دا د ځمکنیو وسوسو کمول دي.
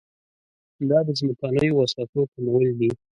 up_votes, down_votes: 1, 2